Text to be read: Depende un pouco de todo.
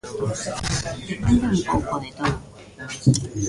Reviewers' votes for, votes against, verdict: 1, 2, rejected